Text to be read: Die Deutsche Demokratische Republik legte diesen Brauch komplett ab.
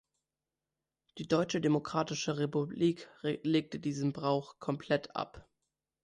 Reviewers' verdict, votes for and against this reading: rejected, 1, 2